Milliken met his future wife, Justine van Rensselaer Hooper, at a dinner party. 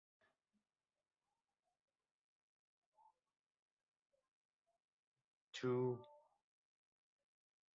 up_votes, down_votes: 0, 3